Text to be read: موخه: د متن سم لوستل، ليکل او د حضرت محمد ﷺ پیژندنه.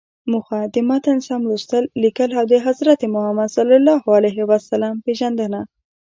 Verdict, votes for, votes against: accepted, 2, 0